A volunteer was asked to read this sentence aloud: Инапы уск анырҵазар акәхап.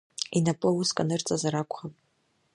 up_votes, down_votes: 0, 2